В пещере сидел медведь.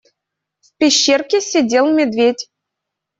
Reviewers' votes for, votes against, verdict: 0, 2, rejected